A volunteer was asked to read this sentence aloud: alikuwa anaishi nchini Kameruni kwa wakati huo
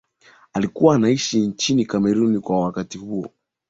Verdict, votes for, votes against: accepted, 3, 0